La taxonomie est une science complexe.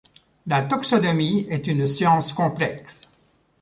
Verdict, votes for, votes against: accepted, 2, 1